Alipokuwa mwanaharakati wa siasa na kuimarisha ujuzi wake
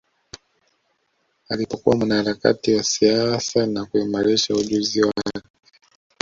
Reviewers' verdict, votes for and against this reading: accepted, 2, 1